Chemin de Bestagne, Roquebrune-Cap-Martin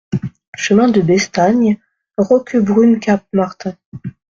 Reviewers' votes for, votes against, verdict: 2, 0, accepted